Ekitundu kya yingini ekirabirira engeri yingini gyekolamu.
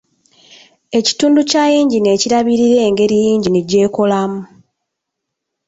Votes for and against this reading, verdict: 2, 0, accepted